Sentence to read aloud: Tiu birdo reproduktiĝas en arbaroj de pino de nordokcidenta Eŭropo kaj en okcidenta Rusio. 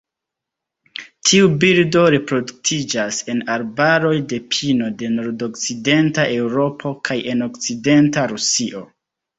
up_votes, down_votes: 1, 2